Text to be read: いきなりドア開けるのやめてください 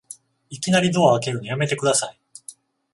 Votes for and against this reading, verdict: 14, 7, accepted